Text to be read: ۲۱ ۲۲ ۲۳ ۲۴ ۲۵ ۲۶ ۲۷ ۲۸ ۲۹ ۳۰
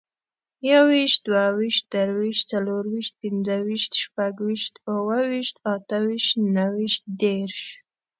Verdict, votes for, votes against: rejected, 0, 2